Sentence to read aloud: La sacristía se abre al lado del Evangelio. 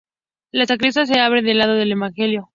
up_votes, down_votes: 0, 2